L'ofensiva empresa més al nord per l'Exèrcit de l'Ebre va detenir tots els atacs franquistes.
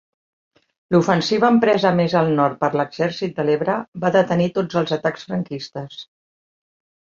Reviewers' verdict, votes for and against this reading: accepted, 3, 0